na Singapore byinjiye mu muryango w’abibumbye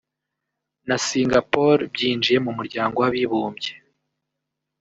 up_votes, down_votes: 1, 2